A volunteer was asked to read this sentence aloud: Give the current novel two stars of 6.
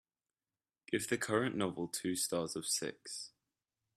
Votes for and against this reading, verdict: 0, 2, rejected